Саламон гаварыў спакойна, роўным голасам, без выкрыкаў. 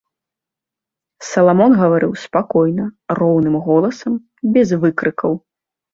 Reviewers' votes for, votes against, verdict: 2, 0, accepted